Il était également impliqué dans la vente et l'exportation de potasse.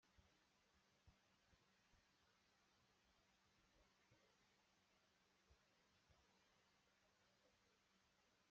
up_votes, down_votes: 0, 2